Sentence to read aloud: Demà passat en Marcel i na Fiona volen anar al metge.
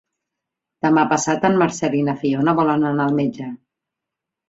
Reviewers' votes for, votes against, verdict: 2, 0, accepted